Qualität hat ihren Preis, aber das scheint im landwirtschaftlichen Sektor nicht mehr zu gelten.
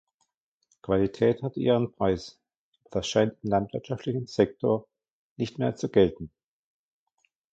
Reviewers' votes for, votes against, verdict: 0, 2, rejected